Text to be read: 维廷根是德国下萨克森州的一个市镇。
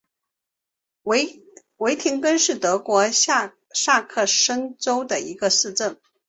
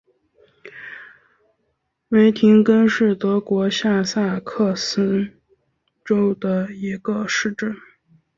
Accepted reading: second